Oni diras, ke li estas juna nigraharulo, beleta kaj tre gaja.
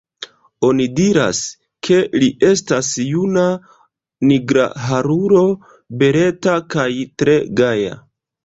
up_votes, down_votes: 1, 2